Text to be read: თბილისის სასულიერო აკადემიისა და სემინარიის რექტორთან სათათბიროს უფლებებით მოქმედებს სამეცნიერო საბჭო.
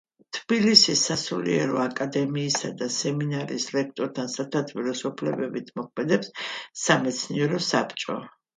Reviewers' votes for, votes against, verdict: 2, 0, accepted